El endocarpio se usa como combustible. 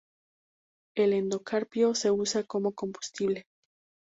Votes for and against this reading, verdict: 2, 0, accepted